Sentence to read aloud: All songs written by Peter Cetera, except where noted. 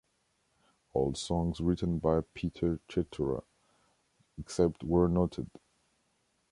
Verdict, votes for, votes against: rejected, 1, 2